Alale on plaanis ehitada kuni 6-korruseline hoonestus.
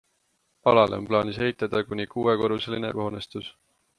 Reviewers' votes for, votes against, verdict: 0, 2, rejected